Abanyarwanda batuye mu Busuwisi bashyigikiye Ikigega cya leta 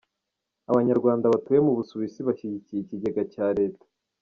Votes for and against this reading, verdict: 1, 2, rejected